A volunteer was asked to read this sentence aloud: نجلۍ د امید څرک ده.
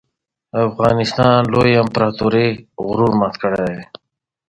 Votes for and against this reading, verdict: 0, 2, rejected